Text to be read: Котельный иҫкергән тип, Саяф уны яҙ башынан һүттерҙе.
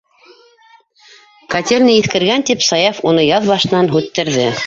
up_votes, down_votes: 1, 2